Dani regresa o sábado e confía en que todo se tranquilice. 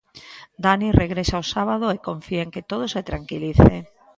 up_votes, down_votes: 2, 0